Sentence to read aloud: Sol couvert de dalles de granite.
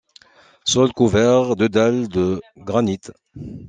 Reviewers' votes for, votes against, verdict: 2, 0, accepted